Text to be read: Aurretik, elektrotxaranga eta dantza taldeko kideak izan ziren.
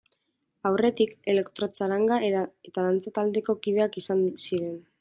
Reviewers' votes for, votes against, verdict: 0, 2, rejected